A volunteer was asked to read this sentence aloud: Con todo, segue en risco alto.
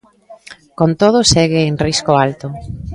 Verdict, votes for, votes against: accepted, 2, 1